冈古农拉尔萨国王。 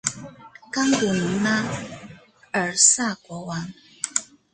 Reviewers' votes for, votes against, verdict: 2, 1, accepted